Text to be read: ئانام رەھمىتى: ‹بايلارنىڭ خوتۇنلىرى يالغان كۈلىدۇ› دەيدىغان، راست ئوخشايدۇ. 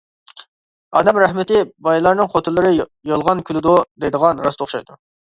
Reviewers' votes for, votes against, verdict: 1, 2, rejected